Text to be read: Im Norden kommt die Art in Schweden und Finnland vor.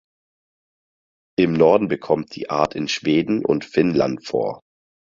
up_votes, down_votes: 0, 4